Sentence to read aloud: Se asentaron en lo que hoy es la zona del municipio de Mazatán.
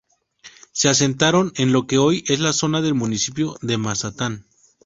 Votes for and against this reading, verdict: 4, 0, accepted